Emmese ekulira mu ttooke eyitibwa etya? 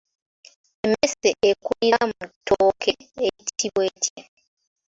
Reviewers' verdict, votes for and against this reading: rejected, 0, 2